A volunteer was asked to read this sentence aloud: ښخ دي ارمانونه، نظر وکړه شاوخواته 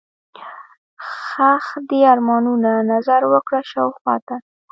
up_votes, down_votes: 1, 2